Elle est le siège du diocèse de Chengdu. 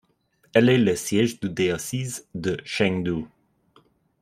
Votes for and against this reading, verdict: 0, 2, rejected